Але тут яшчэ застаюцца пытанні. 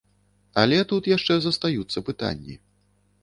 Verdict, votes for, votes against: accepted, 2, 0